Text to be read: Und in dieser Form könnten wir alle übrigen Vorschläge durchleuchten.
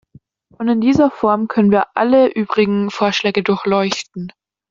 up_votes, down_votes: 1, 2